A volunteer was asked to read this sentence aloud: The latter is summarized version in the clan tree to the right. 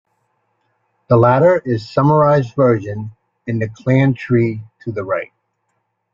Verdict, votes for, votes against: rejected, 1, 2